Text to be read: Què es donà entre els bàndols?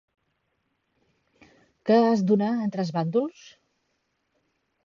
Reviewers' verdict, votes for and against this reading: accepted, 2, 1